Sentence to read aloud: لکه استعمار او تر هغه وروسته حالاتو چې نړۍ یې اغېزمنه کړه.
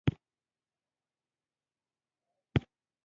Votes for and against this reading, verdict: 1, 2, rejected